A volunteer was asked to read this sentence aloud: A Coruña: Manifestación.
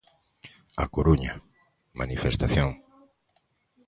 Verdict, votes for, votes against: accepted, 2, 0